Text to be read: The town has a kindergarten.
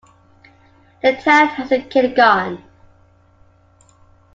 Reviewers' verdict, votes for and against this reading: rejected, 1, 2